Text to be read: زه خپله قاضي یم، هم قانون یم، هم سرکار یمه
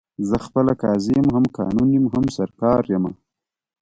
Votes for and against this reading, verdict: 1, 2, rejected